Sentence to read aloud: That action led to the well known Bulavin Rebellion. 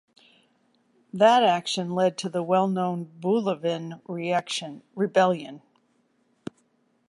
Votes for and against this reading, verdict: 1, 2, rejected